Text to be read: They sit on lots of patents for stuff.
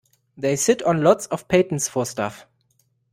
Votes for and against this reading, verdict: 2, 0, accepted